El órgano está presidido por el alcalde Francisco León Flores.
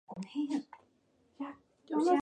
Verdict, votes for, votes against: rejected, 0, 2